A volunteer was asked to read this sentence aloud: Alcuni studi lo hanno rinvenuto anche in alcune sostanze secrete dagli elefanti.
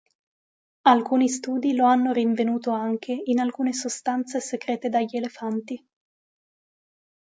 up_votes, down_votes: 2, 0